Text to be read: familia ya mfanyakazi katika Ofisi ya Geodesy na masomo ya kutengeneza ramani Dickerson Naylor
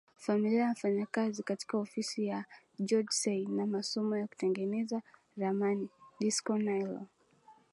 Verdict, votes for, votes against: accepted, 14, 1